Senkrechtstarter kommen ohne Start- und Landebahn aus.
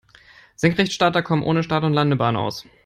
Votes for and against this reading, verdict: 3, 0, accepted